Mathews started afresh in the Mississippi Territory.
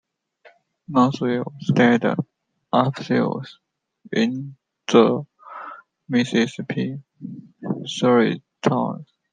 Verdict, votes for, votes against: rejected, 0, 2